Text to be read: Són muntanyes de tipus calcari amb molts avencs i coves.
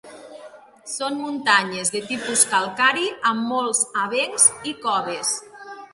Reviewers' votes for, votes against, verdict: 2, 0, accepted